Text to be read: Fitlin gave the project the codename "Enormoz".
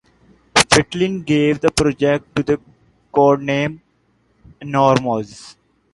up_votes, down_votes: 0, 2